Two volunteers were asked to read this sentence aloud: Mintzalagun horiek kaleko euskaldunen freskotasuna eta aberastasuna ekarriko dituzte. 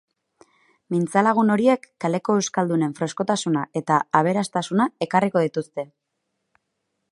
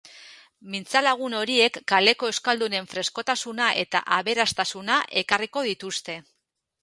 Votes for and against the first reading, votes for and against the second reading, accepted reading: 4, 0, 2, 2, first